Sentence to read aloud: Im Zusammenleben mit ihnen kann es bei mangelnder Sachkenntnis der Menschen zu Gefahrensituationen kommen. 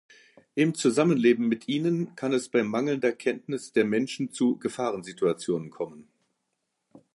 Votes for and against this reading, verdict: 0, 2, rejected